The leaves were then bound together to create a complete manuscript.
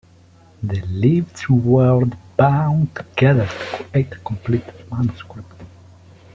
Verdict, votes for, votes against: rejected, 0, 2